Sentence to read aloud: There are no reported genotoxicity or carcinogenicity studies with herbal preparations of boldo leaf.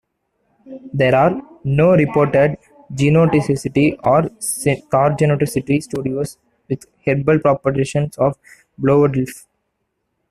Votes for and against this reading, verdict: 0, 2, rejected